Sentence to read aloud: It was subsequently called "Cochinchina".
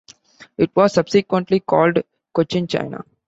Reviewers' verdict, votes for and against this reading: accepted, 2, 0